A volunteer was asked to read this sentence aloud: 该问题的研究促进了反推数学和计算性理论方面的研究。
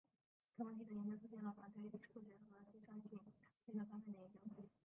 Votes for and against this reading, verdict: 0, 3, rejected